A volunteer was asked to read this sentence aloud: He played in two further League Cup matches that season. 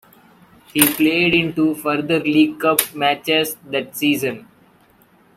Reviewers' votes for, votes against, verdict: 2, 1, accepted